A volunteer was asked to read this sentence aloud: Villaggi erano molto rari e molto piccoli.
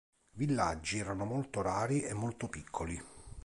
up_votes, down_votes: 3, 0